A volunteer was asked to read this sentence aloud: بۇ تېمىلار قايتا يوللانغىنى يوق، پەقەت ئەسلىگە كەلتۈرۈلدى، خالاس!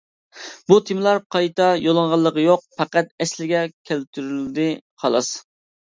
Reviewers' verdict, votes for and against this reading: rejected, 1, 2